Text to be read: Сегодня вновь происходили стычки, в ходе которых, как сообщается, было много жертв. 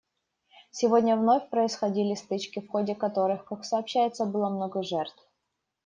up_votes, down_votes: 2, 0